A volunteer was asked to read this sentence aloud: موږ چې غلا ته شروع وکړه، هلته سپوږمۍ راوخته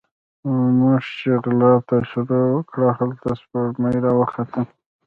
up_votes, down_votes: 1, 2